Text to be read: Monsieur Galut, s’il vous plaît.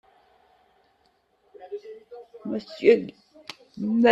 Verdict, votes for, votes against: rejected, 0, 2